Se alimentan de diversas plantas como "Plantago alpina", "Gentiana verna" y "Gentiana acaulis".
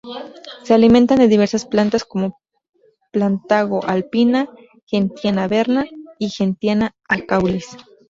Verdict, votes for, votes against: rejected, 0, 2